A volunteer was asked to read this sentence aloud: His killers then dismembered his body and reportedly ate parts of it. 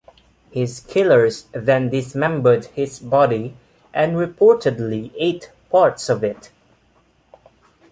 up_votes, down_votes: 2, 0